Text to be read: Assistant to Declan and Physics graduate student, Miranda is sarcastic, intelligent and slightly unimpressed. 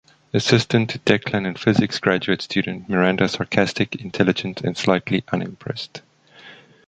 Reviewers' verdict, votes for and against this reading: accepted, 2, 1